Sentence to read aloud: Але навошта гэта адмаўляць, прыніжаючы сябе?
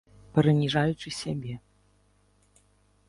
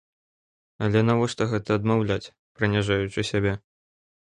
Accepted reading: second